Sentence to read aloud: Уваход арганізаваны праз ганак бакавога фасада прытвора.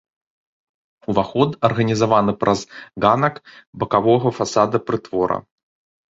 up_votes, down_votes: 0, 2